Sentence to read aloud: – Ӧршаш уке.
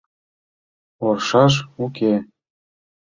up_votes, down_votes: 0, 2